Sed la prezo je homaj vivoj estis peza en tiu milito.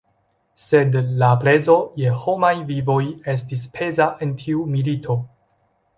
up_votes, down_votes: 1, 2